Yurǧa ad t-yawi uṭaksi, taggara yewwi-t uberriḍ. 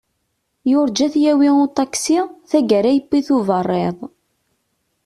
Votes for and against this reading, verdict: 2, 0, accepted